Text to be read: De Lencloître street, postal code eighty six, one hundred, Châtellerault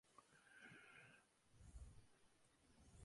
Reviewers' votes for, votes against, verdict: 0, 2, rejected